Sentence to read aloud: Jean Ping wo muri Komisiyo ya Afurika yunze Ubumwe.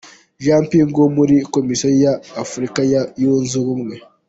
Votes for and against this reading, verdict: 2, 1, accepted